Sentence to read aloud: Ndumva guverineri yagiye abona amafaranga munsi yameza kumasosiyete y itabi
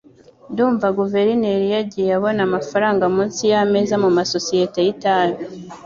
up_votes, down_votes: 2, 0